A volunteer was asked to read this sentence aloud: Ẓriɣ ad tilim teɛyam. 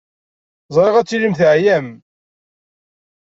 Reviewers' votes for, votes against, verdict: 2, 0, accepted